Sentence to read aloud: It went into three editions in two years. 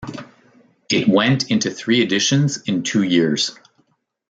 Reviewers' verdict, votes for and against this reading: accepted, 2, 0